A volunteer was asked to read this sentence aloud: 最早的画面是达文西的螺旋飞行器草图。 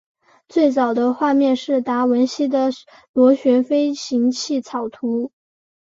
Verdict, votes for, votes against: accepted, 2, 0